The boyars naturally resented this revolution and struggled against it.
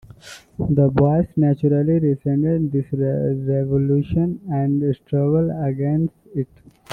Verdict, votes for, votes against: accepted, 2, 1